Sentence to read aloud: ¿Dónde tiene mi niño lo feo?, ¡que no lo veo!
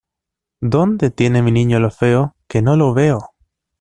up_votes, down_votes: 2, 0